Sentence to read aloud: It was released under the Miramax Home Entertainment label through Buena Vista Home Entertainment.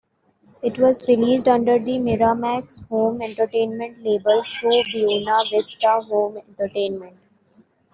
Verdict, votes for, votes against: accepted, 2, 0